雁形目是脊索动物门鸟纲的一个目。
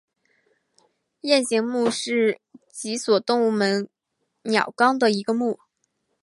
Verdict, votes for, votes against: accepted, 6, 0